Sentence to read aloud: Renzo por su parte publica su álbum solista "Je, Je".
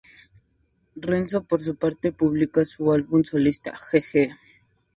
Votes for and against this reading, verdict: 2, 0, accepted